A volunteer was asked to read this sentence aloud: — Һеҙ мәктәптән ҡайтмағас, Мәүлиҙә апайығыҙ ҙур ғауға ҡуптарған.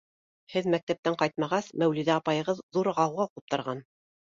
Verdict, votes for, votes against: accepted, 3, 0